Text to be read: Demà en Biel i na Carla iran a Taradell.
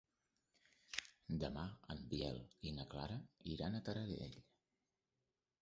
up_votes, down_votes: 1, 3